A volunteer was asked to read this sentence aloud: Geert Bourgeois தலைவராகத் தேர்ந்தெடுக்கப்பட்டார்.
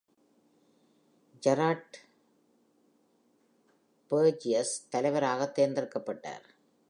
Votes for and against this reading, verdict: 1, 2, rejected